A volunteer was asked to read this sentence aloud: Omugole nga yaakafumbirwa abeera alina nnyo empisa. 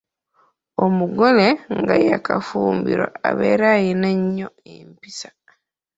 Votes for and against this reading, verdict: 2, 0, accepted